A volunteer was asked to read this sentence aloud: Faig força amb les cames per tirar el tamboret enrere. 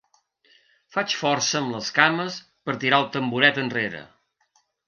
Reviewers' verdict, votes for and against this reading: accepted, 4, 0